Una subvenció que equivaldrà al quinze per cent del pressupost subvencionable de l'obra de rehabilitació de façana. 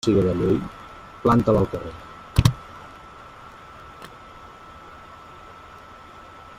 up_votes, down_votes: 0, 2